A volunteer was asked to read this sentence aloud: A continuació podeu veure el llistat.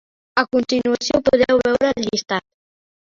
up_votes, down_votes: 0, 2